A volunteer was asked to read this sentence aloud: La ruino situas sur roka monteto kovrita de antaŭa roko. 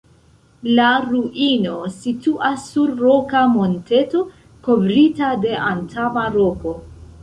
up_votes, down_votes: 0, 2